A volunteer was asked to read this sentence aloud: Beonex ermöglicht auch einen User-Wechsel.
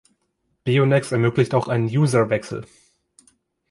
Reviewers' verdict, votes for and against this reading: accepted, 2, 0